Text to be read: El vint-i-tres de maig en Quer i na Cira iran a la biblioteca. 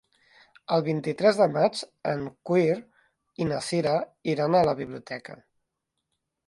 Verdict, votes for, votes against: rejected, 1, 2